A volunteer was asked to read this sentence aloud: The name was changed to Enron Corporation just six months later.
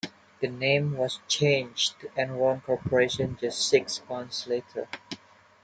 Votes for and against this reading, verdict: 2, 1, accepted